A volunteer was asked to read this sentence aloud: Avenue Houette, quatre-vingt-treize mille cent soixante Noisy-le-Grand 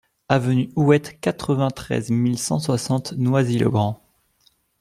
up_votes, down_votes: 2, 0